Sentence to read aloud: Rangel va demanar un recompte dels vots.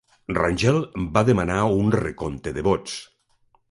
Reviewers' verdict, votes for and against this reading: rejected, 0, 2